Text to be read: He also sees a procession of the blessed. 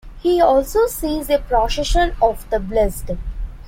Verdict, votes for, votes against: accepted, 2, 1